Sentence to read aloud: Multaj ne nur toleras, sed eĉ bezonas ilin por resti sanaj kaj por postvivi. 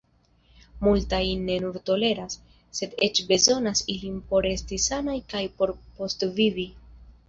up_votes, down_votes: 1, 2